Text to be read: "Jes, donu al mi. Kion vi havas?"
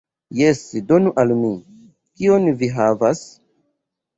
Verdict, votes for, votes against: rejected, 0, 2